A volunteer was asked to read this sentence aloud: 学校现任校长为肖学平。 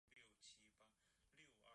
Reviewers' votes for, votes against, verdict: 0, 3, rejected